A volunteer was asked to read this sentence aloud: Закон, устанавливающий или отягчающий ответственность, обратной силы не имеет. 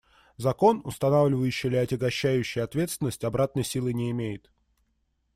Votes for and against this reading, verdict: 1, 2, rejected